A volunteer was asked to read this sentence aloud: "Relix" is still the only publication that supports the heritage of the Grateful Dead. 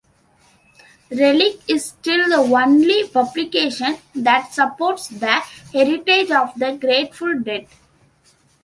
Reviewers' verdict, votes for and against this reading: rejected, 0, 2